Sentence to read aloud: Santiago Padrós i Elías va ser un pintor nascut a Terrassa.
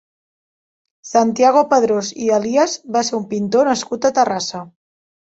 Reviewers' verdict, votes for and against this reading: accepted, 2, 0